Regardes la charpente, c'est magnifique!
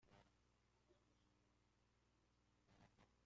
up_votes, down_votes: 0, 2